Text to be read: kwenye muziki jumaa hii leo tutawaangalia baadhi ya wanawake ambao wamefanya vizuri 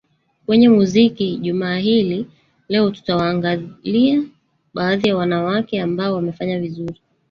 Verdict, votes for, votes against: rejected, 0, 2